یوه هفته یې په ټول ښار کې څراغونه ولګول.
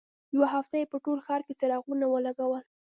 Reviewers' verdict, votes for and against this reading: rejected, 1, 2